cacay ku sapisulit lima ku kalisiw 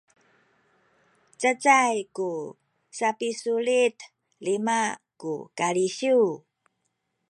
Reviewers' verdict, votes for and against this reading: accepted, 2, 0